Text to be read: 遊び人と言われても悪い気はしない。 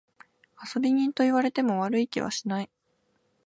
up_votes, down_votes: 4, 0